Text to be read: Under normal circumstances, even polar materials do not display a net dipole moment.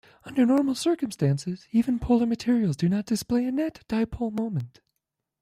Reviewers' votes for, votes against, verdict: 2, 1, accepted